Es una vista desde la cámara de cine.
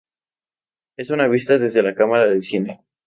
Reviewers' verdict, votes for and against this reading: rejected, 0, 2